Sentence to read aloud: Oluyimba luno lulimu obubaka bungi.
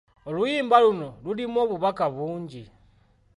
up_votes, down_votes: 2, 1